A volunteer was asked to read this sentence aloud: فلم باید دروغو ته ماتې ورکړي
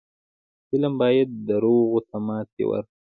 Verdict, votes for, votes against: accepted, 2, 1